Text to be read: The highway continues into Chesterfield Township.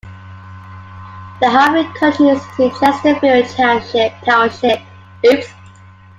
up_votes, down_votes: 0, 2